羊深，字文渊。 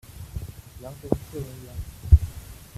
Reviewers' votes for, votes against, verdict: 0, 2, rejected